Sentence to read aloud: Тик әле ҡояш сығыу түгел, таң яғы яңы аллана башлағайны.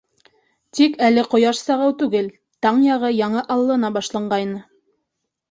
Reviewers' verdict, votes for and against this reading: rejected, 0, 2